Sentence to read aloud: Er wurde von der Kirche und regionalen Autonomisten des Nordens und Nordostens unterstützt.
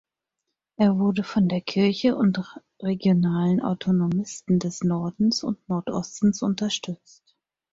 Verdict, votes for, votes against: accepted, 4, 0